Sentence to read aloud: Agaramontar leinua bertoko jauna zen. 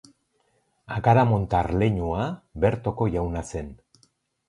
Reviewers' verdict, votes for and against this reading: accepted, 6, 0